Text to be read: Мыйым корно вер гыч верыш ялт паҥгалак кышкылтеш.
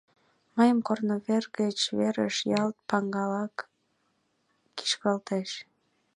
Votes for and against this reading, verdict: 1, 2, rejected